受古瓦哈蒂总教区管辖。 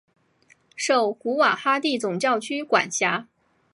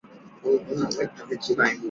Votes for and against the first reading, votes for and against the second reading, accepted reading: 6, 1, 1, 2, first